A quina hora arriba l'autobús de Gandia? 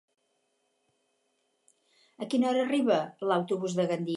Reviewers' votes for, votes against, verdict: 2, 4, rejected